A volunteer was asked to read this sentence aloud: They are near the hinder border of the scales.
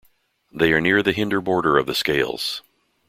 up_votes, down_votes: 2, 0